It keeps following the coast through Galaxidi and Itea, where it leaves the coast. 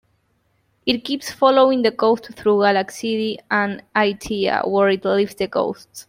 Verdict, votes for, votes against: accepted, 2, 0